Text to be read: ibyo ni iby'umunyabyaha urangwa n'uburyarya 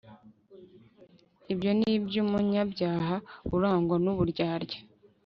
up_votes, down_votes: 2, 0